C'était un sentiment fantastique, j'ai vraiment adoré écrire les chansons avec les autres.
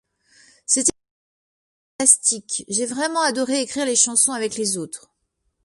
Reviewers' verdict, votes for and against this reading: rejected, 1, 2